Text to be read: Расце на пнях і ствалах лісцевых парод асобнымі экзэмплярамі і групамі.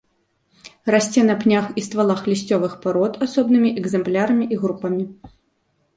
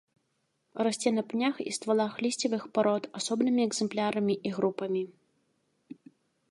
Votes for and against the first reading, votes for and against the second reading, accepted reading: 1, 2, 2, 0, second